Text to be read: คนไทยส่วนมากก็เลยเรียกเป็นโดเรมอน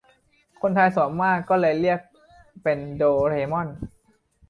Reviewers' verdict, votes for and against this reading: accepted, 2, 0